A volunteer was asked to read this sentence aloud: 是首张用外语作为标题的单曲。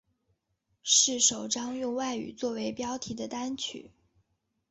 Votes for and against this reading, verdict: 2, 1, accepted